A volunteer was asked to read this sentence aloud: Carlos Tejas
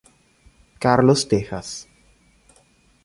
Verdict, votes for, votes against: accepted, 2, 0